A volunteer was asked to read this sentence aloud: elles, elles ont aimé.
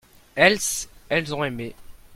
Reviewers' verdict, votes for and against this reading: rejected, 1, 2